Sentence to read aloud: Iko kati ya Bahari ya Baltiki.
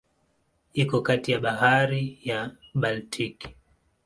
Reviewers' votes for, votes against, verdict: 5, 2, accepted